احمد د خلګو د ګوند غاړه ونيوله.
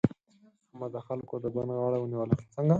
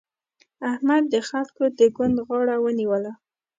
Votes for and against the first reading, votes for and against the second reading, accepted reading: 2, 4, 2, 0, second